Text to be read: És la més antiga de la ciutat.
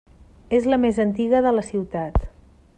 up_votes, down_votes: 3, 0